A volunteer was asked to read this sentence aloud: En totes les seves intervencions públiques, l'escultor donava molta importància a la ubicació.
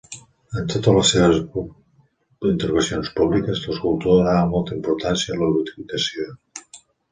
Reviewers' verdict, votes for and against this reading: rejected, 0, 2